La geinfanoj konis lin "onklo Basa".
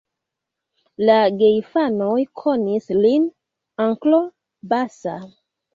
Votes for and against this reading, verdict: 0, 2, rejected